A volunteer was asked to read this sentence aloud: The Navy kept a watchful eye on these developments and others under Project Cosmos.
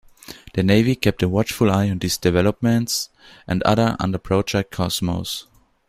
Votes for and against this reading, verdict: 0, 2, rejected